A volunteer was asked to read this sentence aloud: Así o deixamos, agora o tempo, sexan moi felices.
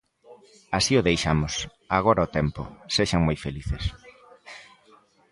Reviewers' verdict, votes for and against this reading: accepted, 2, 0